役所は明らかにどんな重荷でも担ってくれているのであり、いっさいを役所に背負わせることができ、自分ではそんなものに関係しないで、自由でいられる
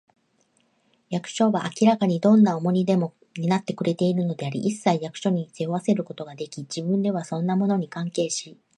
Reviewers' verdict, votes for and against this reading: rejected, 0, 2